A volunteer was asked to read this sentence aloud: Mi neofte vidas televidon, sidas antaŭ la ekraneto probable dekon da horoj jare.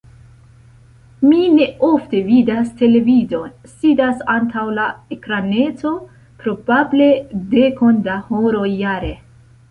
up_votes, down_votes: 2, 0